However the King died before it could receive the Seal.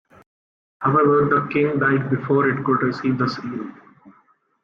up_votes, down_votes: 2, 0